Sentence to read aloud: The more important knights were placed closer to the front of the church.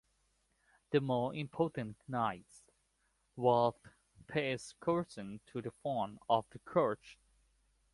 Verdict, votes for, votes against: accepted, 2, 0